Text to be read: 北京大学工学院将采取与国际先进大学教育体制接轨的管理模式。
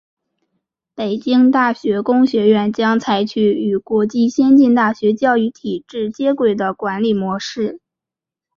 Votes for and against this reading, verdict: 3, 0, accepted